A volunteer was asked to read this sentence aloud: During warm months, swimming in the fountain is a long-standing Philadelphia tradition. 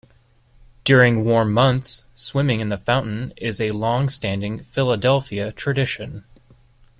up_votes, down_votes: 2, 0